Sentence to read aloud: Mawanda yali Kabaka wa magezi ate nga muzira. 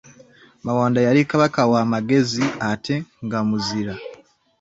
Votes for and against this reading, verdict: 2, 0, accepted